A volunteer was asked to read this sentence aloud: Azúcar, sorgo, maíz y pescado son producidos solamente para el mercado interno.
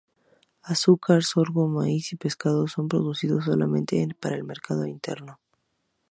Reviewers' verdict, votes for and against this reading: accepted, 2, 0